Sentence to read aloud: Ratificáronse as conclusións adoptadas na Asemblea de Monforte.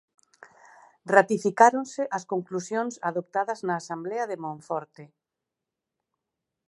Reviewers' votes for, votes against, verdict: 2, 4, rejected